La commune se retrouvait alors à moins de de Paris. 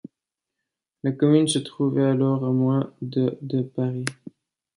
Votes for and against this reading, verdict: 1, 2, rejected